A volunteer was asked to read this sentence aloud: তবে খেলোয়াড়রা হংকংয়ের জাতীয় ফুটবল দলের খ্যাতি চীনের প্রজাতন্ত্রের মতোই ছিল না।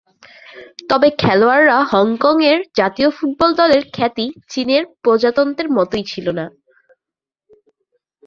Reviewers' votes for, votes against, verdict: 2, 0, accepted